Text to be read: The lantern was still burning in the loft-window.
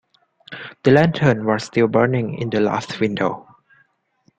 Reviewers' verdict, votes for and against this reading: accepted, 2, 0